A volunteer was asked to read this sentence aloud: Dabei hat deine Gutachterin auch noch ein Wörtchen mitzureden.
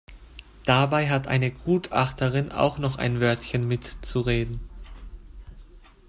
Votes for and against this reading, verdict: 0, 2, rejected